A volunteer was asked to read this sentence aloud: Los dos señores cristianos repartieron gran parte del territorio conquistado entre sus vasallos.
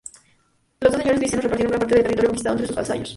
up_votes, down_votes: 0, 4